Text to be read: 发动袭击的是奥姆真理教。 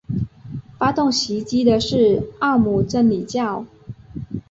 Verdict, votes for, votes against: accepted, 5, 0